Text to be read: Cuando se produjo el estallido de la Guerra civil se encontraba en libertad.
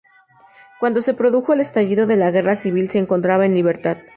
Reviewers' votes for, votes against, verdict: 0, 2, rejected